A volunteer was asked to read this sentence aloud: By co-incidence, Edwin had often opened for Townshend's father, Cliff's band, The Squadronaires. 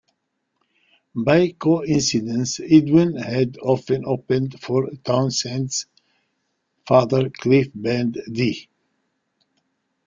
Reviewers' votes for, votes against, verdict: 0, 2, rejected